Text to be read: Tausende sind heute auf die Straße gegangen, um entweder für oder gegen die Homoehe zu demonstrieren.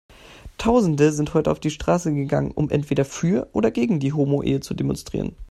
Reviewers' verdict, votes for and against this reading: accepted, 2, 0